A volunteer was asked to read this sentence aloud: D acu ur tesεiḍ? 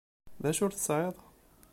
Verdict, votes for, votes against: accepted, 2, 0